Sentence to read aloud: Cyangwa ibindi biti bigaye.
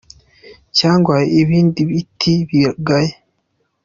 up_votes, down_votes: 2, 0